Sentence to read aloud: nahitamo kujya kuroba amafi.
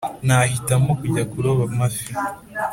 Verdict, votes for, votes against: accepted, 2, 0